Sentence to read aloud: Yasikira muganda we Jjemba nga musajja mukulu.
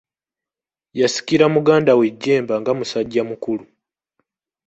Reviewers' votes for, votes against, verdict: 2, 0, accepted